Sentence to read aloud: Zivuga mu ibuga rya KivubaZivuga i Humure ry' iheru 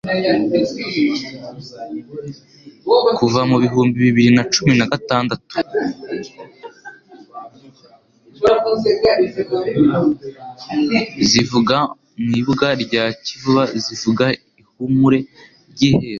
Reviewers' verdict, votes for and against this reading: rejected, 1, 2